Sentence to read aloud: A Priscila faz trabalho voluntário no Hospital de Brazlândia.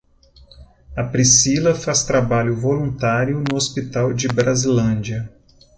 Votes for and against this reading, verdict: 0, 2, rejected